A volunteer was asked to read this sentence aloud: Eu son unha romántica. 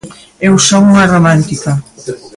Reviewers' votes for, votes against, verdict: 2, 0, accepted